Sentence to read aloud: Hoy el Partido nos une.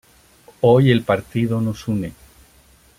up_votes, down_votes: 2, 0